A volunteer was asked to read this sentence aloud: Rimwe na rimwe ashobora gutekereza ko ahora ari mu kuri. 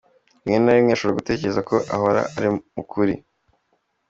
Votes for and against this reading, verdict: 2, 1, accepted